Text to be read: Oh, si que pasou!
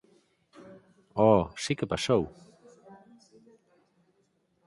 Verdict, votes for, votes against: accepted, 4, 0